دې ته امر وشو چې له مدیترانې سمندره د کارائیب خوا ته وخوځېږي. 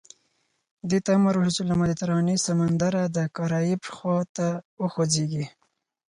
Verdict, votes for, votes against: accepted, 4, 0